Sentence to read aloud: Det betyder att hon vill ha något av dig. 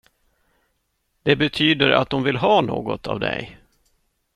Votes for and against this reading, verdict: 2, 0, accepted